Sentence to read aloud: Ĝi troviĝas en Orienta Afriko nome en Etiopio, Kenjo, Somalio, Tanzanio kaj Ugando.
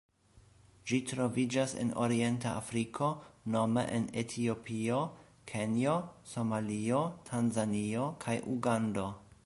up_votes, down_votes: 1, 2